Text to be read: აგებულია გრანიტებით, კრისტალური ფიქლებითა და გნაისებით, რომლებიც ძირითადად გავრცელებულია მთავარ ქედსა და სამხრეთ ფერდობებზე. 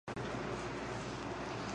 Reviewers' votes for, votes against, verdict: 0, 3, rejected